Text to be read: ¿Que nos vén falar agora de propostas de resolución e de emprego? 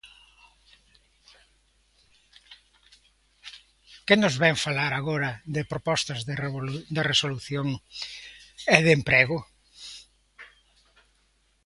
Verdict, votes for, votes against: rejected, 0, 2